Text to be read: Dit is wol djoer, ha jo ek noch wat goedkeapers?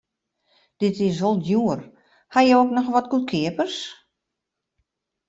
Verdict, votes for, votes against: accepted, 2, 0